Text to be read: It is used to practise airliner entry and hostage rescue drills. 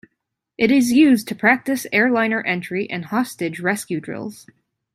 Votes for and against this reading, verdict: 2, 0, accepted